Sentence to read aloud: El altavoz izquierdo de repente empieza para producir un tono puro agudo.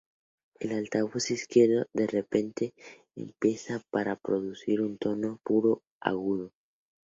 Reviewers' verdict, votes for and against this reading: accepted, 2, 0